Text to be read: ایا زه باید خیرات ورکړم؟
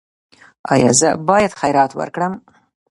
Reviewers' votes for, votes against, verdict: 0, 2, rejected